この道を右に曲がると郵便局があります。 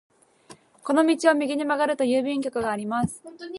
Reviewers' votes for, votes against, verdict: 0, 2, rejected